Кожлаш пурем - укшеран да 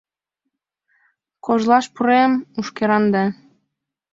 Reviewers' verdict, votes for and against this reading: rejected, 0, 2